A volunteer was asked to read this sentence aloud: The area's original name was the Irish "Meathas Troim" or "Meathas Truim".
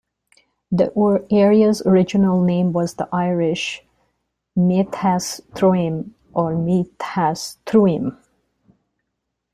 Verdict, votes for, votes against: rejected, 0, 2